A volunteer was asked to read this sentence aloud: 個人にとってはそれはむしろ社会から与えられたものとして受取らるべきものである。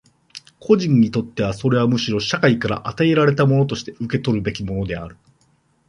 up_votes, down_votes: 0, 2